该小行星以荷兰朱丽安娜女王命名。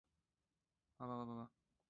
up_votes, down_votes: 0, 3